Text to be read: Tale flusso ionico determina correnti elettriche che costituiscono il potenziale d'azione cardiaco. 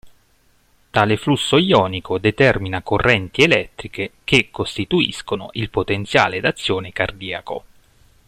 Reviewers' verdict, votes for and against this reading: accepted, 2, 0